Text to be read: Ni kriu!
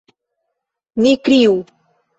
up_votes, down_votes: 2, 0